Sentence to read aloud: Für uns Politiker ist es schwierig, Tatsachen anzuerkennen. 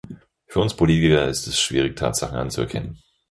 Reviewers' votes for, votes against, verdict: 2, 4, rejected